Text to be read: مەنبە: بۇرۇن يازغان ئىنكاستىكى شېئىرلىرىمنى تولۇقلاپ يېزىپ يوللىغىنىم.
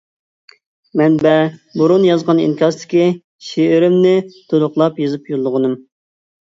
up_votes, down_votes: 0, 2